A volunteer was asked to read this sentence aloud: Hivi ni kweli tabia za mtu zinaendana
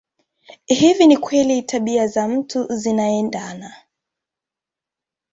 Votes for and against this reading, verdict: 1, 2, rejected